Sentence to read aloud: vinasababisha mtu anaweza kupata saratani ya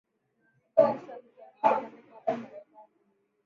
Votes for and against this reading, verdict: 0, 2, rejected